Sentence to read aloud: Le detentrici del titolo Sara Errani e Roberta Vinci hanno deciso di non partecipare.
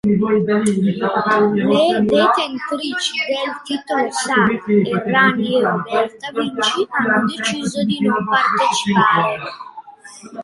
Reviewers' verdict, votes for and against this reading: rejected, 0, 2